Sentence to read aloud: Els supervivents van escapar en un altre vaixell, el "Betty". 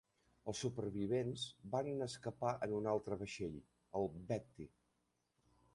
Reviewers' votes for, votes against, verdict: 2, 0, accepted